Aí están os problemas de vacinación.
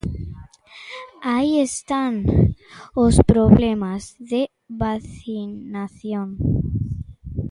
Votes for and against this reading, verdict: 0, 2, rejected